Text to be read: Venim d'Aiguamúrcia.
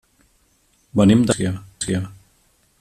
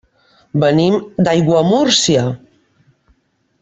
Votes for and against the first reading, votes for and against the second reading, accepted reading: 1, 2, 2, 1, second